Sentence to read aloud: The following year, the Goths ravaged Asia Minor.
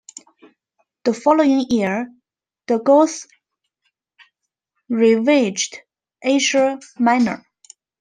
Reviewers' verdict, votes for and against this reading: rejected, 1, 2